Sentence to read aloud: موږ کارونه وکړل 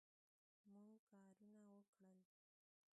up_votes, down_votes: 1, 2